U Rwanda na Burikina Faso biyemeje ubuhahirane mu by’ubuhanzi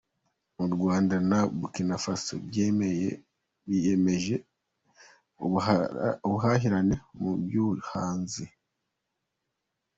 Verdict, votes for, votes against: rejected, 1, 2